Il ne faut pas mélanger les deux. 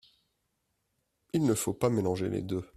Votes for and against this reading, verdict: 2, 0, accepted